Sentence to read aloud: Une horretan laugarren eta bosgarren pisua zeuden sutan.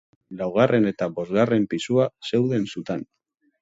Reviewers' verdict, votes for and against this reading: rejected, 1, 2